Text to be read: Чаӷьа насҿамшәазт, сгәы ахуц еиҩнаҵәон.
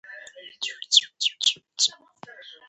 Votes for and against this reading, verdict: 1, 3, rejected